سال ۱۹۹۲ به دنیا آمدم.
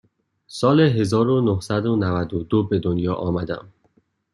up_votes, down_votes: 0, 2